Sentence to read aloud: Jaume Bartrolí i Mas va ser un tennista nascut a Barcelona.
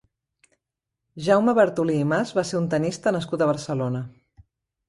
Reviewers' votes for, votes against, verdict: 1, 2, rejected